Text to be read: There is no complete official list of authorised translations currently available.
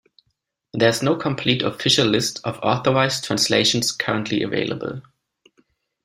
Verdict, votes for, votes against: accepted, 2, 0